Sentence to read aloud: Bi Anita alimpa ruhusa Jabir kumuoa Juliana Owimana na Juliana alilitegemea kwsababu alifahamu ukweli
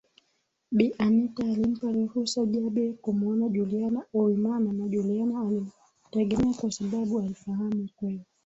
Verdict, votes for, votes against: accepted, 2, 0